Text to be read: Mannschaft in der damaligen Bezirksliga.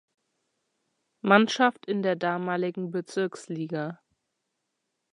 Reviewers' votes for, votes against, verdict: 2, 0, accepted